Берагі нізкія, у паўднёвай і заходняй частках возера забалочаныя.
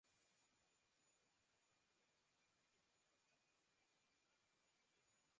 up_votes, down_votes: 0, 2